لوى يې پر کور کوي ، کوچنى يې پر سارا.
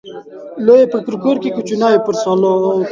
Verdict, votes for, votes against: rejected, 1, 2